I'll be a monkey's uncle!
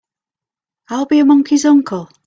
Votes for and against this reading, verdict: 3, 0, accepted